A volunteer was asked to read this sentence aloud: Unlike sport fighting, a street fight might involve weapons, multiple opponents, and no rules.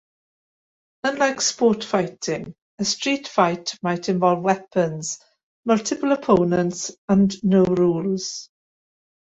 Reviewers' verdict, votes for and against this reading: accepted, 2, 0